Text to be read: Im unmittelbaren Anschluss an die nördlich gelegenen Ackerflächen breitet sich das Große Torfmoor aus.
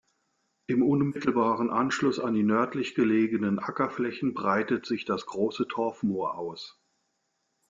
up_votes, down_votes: 2, 0